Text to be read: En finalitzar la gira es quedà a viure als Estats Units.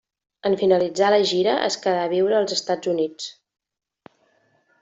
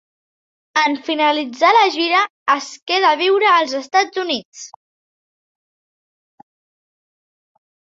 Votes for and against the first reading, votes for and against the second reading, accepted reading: 3, 0, 1, 2, first